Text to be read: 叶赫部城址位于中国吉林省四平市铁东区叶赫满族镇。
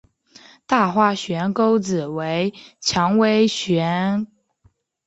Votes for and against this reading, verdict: 0, 5, rejected